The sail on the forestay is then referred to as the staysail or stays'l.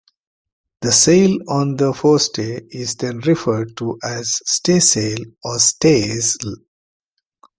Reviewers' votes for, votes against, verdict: 2, 0, accepted